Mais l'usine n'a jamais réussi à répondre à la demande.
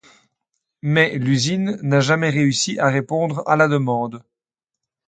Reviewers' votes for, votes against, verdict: 2, 0, accepted